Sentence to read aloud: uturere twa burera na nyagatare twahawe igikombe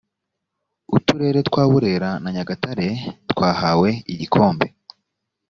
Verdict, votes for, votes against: accepted, 2, 0